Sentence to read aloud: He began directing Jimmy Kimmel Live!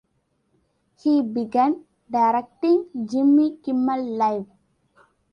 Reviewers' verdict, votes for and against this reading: accepted, 2, 0